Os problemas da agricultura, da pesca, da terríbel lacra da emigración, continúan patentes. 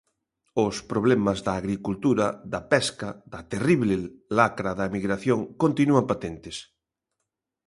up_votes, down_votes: 1, 2